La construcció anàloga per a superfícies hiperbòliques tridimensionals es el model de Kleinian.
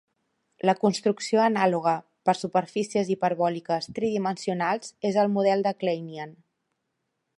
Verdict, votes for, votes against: rejected, 1, 2